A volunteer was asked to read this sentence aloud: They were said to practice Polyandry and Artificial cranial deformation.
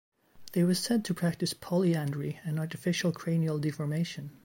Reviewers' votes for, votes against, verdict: 2, 0, accepted